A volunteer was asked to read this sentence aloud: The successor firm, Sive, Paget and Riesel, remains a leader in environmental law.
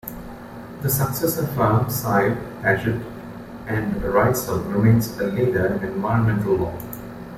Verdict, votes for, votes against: rejected, 0, 2